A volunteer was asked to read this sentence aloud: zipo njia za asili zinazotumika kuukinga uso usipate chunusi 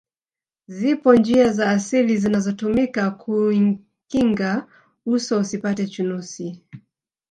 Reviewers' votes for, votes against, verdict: 2, 3, rejected